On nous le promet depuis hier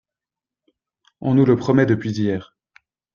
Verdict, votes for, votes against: accepted, 2, 0